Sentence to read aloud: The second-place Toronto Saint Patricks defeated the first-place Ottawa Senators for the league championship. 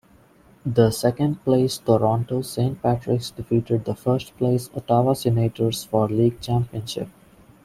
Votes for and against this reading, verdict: 2, 0, accepted